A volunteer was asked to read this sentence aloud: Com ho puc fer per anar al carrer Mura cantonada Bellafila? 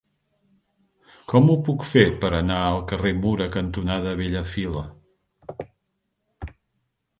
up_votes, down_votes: 3, 0